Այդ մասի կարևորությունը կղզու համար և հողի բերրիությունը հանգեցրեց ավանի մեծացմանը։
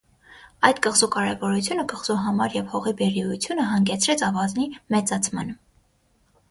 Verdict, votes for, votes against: rejected, 3, 6